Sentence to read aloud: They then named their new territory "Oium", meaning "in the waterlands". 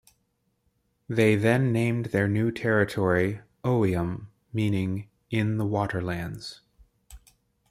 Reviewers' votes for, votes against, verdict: 2, 0, accepted